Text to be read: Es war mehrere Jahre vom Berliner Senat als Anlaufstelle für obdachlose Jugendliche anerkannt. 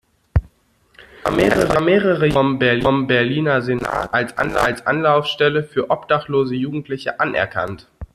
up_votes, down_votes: 0, 2